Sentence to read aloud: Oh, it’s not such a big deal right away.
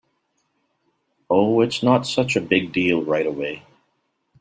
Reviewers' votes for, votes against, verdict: 3, 0, accepted